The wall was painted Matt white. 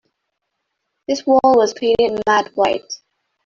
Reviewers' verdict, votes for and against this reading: rejected, 0, 2